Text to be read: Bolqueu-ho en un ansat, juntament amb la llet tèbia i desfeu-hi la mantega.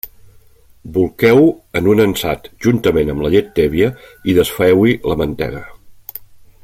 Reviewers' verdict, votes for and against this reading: accepted, 2, 0